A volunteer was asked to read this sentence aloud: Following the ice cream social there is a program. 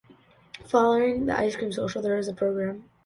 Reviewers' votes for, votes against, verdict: 1, 2, rejected